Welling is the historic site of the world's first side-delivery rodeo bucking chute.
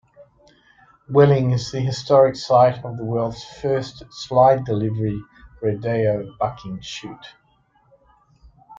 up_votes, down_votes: 0, 2